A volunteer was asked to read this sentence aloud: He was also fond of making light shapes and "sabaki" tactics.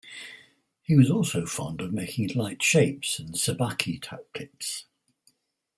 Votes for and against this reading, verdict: 4, 2, accepted